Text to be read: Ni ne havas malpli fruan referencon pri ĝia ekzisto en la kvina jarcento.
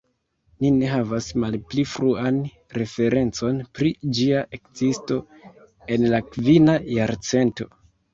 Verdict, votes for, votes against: rejected, 1, 2